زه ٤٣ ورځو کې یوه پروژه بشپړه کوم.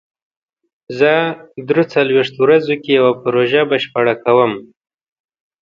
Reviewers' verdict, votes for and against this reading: rejected, 0, 2